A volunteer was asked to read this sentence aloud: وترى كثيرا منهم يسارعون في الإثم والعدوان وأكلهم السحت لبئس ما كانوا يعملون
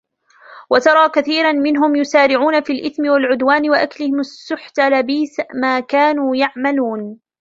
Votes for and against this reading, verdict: 2, 0, accepted